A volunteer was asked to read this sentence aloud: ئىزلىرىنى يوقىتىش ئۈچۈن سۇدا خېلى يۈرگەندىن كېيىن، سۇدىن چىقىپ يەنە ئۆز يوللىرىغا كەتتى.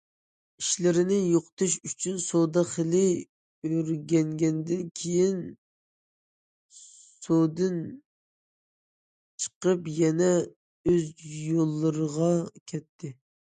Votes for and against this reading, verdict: 0, 2, rejected